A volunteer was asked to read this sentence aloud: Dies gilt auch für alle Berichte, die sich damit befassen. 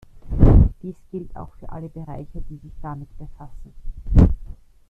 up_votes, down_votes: 0, 2